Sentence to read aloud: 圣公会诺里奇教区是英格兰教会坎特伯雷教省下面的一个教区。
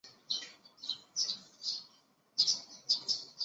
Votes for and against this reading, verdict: 0, 2, rejected